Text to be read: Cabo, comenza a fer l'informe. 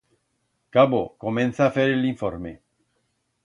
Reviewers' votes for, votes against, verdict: 1, 2, rejected